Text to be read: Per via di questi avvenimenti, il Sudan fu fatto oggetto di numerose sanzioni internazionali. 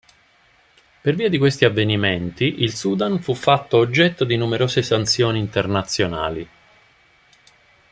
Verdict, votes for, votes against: accepted, 2, 0